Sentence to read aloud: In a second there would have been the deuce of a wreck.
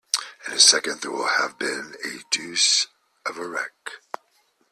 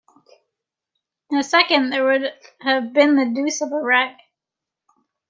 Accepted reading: second